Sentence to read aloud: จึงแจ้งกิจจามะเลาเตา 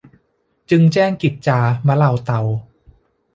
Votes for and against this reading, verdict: 2, 1, accepted